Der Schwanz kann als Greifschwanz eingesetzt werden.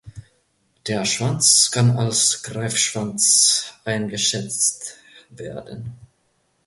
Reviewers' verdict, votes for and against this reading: rejected, 1, 2